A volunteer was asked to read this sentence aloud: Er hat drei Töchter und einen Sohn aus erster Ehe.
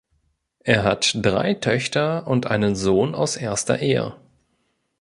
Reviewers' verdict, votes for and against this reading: accepted, 2, 0